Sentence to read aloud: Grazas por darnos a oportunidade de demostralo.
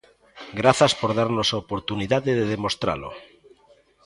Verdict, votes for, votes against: accepted, 2, 0